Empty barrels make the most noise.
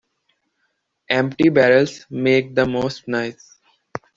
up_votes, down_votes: 2, 1